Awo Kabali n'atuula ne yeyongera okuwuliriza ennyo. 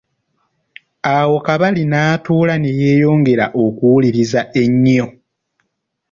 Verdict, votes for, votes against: rejected, 1, 2